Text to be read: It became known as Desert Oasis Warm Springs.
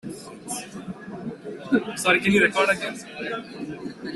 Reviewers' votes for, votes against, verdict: 0, 2, rejected